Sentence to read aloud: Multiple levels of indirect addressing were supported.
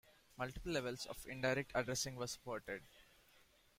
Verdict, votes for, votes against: accepted, 2, 0